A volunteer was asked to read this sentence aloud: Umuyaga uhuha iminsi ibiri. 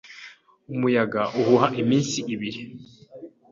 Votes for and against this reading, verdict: 2, 0, accepted